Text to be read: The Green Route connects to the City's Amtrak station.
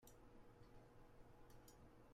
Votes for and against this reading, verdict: 0, 2, rejected